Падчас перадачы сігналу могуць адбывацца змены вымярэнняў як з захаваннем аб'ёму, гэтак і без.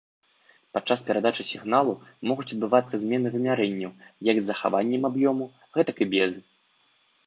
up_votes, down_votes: 1, 2